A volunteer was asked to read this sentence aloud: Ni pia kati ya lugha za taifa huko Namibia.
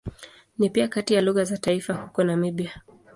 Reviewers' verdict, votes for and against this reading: accepted, 2, 0